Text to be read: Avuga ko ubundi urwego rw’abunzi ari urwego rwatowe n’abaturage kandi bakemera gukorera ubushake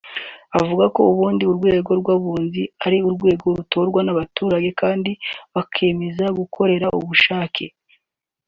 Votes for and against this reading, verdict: 1, 2, rejected